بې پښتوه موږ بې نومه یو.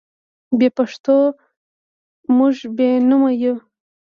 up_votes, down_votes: 1, 2